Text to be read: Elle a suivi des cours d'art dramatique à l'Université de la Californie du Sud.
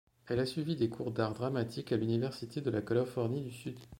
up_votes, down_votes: 0, 2